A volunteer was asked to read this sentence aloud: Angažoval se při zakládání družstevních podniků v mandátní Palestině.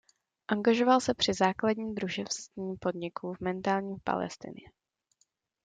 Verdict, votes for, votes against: rejected, 0, 2